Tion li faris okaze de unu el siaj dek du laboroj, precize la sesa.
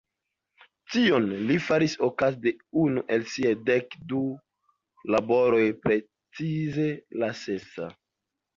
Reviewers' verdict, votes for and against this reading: accepted, 2, 1